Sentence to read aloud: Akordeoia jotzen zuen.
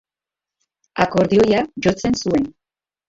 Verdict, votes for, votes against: rejected, 2, 2